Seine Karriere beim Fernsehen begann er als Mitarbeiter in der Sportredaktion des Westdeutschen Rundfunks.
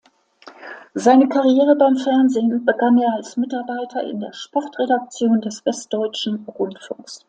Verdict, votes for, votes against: accepted, 2, 0